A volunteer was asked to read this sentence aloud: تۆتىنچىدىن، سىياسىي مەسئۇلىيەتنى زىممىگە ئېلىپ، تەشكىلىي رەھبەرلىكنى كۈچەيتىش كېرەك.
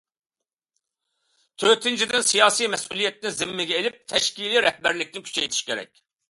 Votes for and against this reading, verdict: 2, 0, accepted